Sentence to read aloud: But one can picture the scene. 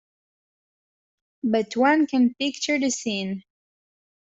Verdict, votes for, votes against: accepted, 2, 0